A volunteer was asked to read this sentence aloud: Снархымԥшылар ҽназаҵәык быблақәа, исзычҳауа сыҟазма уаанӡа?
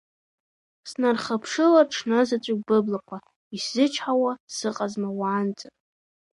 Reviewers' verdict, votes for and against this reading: rejected, 1, 3